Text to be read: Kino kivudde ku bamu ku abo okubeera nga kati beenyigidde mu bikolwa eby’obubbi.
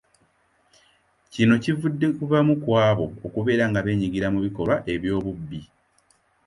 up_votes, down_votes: 1, 2